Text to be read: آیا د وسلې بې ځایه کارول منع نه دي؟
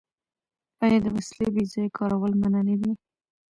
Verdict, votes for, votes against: rejected, 0, 2